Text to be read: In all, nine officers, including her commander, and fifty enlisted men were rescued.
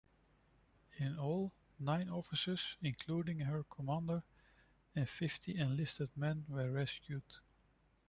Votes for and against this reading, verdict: 2, 0, accepted